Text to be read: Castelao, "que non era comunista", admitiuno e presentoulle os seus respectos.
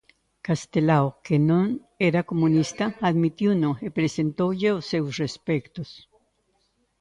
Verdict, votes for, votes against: accepted, 2, 0